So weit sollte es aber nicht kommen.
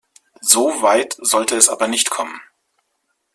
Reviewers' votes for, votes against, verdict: 2, 0, accepted